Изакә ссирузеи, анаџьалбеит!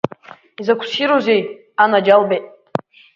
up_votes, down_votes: 4, 0